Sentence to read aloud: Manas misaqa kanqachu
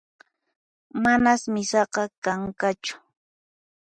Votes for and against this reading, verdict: 2, 4, rejected